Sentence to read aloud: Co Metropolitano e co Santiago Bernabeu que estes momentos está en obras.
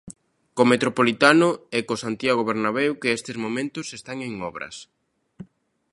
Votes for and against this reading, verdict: 2, 1, accepted